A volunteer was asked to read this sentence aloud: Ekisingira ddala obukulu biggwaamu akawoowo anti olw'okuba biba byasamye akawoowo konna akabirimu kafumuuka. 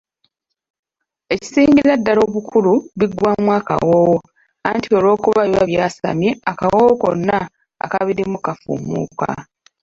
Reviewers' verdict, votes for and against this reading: accepted, 3, 1